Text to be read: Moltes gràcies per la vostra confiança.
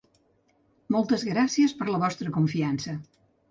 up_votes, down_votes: 2, 0